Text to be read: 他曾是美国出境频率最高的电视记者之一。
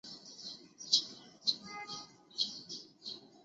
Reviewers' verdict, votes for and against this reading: rejected, 0, 2